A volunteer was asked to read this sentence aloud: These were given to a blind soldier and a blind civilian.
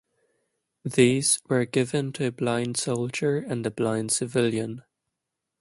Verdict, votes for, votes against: accepted, 2, 0